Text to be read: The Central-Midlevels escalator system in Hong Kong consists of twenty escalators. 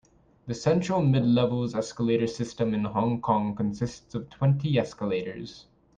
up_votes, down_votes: 2, 0